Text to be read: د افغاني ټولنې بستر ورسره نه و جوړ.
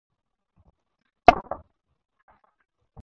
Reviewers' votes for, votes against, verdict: 0, 4, rejected